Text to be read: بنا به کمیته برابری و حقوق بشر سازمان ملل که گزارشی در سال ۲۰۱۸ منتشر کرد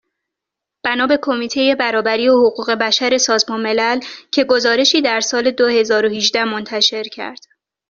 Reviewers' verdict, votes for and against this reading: rejected, 0, 2